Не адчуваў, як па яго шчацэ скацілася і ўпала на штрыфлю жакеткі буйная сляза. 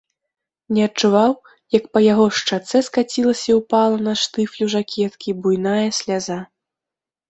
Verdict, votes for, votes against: accepted, 2, 0